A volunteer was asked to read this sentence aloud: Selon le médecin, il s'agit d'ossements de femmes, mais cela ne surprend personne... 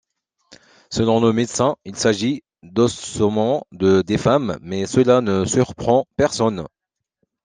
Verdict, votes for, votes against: rejected, 1, 2